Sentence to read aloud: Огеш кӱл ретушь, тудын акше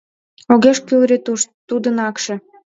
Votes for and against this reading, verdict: 2, 0, accepted